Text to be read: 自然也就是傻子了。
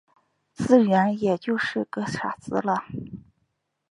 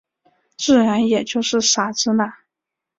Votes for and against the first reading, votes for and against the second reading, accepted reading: 0, 2, 5, 0, second